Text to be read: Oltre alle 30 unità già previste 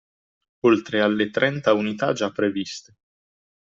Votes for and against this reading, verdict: 0, 2, rejected